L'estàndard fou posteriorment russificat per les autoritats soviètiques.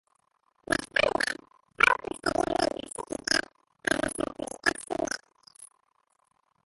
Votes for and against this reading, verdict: 0, 2, rejected